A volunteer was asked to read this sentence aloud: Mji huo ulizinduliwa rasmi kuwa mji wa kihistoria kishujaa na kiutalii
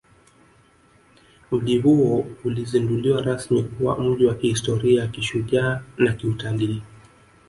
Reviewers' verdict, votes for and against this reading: accepted, 2, 1